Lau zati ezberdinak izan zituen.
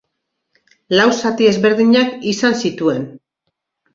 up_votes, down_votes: 2, 0